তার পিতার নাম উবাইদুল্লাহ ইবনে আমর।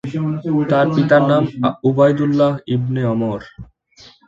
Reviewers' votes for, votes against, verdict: 2, 0, accepted